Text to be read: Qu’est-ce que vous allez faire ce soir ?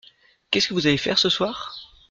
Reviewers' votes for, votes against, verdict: 2, 0, accepted